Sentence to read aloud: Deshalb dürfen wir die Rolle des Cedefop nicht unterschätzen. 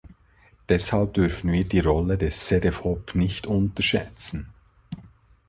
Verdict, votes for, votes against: accepted, 2, 0